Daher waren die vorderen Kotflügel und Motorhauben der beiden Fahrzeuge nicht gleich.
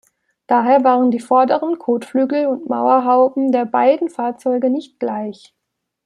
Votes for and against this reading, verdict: 0, 2, rejected